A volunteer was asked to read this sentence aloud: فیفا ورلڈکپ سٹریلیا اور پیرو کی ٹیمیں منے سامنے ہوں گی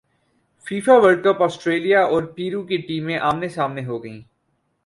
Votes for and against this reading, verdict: 0, 2, rejected